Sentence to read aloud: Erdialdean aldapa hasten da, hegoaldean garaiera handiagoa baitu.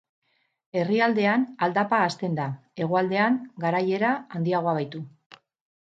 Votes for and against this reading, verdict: 2, 2, rejected